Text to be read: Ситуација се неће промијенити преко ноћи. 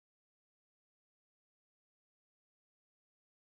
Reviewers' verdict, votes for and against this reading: rejected, 0, 2